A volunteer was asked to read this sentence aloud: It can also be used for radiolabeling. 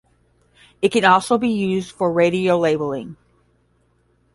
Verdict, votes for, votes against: rejected, 5, 5